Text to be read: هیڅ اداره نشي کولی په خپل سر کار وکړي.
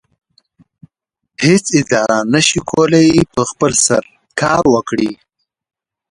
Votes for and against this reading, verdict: 2, 0, accepted